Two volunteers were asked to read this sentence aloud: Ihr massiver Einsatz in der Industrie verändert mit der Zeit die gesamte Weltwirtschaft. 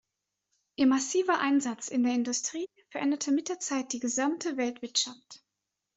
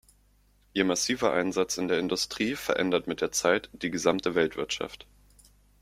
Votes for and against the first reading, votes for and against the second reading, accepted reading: 1, 2, 2, 0, second